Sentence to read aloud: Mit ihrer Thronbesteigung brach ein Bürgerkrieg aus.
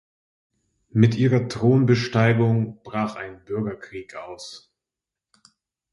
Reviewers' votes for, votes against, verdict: 2, 0, accepted